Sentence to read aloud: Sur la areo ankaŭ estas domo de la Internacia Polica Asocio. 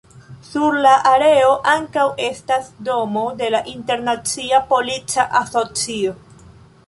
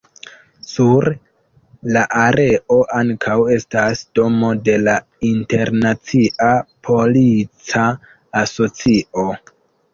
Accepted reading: first